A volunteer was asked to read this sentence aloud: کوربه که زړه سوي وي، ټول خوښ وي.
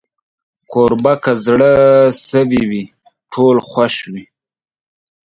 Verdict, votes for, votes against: accepted, 5, 0